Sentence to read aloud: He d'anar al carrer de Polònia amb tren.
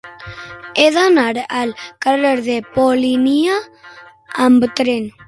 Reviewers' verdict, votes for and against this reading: rejected, 0, 6